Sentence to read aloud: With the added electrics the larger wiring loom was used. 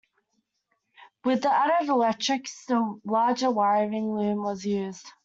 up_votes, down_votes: 2, 1